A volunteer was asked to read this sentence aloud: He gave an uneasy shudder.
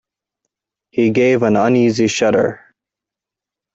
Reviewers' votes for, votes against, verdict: 2, 0, accepted